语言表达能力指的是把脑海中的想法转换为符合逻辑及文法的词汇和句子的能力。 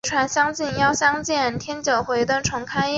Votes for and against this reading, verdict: 1, 3, rejected